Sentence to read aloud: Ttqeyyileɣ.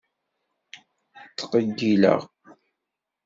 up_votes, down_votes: 2, 0